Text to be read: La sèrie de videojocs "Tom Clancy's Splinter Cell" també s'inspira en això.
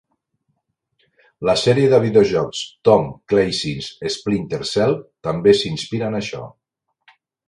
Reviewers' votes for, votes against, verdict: 2, 1, accepted